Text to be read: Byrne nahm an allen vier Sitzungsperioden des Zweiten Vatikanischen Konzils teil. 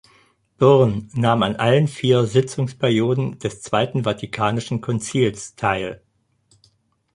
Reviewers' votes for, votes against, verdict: 4, 0, accepted